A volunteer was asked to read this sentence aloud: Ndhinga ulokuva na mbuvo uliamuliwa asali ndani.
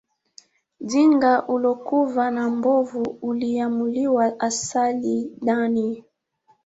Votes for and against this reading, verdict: 2, 1, accepted